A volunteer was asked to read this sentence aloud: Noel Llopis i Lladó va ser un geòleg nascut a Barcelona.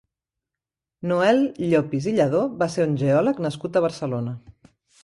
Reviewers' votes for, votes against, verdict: 3, 0, accepted